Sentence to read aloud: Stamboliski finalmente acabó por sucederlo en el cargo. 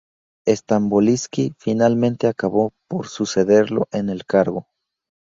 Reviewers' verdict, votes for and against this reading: accepted, 2, 0